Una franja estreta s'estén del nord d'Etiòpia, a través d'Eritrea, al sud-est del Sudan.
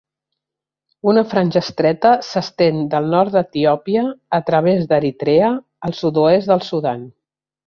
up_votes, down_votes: 1, 2